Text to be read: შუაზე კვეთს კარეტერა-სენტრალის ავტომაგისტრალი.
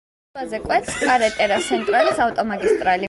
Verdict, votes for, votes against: rejected, 1, 2